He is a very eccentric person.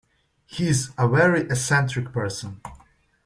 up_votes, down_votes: 2, 0